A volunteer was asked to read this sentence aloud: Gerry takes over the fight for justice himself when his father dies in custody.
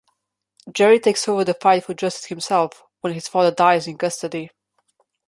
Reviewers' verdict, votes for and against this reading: rejected, 0, 2